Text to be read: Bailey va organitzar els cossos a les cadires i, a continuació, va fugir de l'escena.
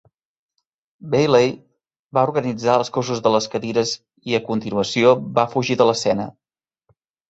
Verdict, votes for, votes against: rejected, 0, 2